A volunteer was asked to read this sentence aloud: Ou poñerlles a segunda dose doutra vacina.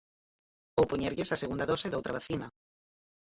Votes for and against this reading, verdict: 2, 4, rejected